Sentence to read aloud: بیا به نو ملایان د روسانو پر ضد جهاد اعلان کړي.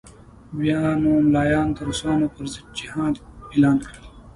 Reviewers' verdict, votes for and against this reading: rejected, 0, 2